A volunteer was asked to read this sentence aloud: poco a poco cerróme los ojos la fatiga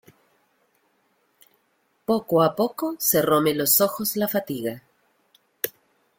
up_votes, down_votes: 2, 0